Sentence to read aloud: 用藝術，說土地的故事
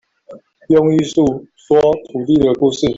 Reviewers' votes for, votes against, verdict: 0, 3, rejected